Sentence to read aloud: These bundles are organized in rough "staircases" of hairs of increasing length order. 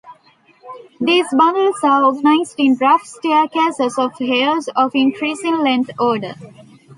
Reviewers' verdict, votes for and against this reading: accepted, 2, 0